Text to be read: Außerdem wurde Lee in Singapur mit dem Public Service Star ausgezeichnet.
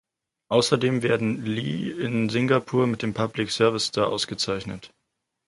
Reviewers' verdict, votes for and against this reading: rejected, 0, 4